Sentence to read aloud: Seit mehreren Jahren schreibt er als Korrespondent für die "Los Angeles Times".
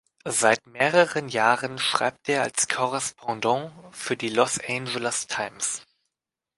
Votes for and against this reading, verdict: 0, 2, rejected